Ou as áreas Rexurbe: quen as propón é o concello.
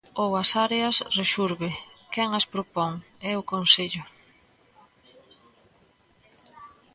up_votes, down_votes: 0, 2